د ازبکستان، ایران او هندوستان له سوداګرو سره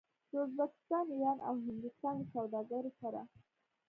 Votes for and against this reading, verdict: 1, 2, rejected